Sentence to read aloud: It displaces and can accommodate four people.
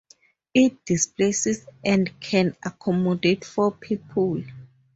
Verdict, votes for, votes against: accepted, 4, 0